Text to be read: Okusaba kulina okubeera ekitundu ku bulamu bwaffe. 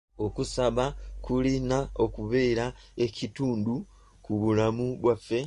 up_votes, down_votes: 2, 0